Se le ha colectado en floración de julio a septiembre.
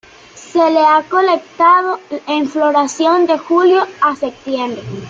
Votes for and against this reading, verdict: 2, 0, accepted